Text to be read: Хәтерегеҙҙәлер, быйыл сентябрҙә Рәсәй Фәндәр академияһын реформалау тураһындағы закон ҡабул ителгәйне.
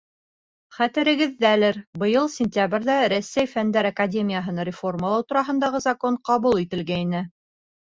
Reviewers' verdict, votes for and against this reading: accepted, 4, 0